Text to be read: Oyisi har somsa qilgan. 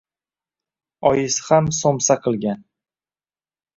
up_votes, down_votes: 2, 0